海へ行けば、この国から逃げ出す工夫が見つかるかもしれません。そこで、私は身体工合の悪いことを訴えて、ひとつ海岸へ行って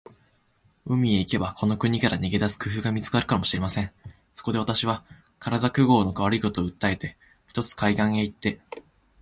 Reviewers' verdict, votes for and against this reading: accepted, 2, 1